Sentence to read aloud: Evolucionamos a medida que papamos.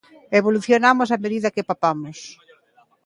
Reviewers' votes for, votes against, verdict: 1, 2, rejected